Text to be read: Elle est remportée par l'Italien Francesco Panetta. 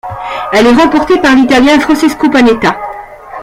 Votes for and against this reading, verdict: 1, 2, rejected